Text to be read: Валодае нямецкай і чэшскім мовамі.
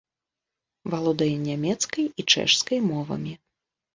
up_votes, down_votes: 0, 2